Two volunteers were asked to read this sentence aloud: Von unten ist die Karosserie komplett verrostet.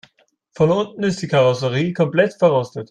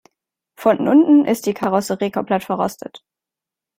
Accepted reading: first